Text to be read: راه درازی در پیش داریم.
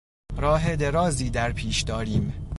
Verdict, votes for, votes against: accepted, 2, 0